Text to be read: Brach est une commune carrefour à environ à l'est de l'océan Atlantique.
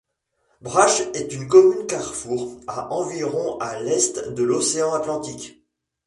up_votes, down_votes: 2, 0